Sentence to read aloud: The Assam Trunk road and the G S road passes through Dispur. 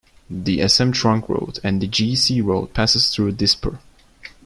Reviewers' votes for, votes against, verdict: 2, 0, accepted